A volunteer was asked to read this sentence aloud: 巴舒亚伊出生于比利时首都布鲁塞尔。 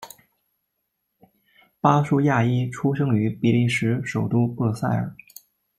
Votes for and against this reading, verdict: 2, 1, accepted